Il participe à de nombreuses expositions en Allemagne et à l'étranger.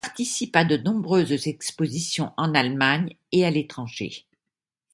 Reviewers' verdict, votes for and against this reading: rejected, 0, 2